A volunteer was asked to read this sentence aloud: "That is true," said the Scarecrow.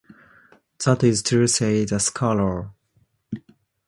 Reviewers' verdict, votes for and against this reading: rejected, 0, 2